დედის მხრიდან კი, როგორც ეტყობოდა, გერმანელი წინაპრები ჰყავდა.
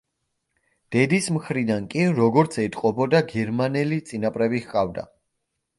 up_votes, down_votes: 2, 0